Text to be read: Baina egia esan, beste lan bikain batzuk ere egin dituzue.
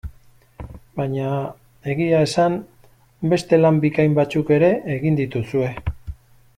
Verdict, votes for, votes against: rejected, 1, 2